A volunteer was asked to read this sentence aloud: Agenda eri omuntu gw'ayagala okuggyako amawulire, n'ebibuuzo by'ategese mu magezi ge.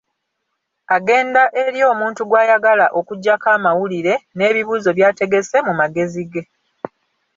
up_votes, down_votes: 2, 0